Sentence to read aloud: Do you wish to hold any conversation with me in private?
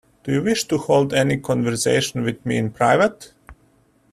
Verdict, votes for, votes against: rejected, 1, 2